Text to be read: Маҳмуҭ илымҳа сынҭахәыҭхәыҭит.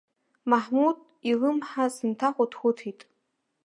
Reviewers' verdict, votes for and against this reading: accepted, 3, 1